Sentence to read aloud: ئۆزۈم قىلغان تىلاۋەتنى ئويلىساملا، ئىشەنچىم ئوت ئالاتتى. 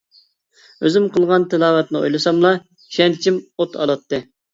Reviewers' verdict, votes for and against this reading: accepted, 2, 0